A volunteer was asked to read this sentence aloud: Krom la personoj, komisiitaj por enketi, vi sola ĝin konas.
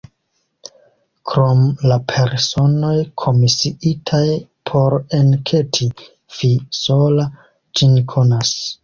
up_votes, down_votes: 2, 1